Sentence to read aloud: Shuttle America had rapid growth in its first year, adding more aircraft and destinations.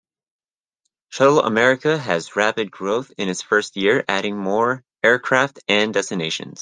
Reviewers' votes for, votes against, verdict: 0, 2, rejected